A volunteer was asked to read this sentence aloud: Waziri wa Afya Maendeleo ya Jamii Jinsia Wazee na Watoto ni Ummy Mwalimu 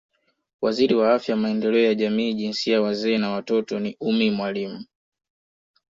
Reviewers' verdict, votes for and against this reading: accepted, 2, 0